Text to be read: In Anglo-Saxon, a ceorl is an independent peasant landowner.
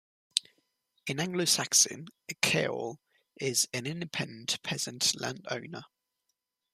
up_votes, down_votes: 0, 2